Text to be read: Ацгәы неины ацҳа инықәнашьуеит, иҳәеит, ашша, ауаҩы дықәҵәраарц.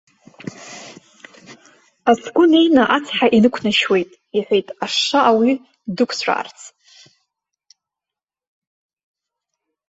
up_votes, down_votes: 1, 2